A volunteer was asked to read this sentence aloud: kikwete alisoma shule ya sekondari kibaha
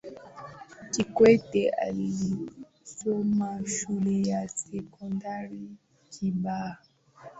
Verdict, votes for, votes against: accepted, 2, 0